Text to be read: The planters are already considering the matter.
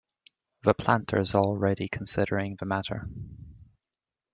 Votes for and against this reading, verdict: 0, 2, rejected